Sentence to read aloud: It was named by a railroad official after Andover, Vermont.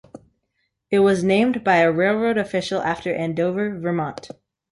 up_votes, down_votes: 2, 0